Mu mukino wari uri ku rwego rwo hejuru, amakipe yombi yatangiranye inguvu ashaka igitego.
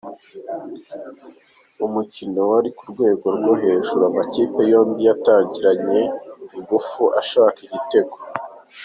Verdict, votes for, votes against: accepted, 3, 1